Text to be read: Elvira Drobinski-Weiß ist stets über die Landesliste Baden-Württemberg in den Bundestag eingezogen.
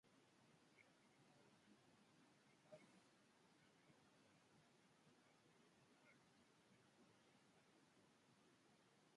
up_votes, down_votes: 0, 2